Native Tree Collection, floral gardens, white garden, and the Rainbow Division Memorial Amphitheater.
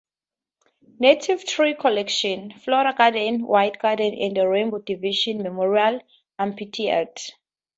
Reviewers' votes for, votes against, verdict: 2, 2, rejected